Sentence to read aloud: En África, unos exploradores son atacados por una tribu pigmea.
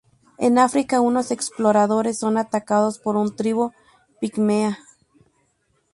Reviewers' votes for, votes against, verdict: 0, 4, rejected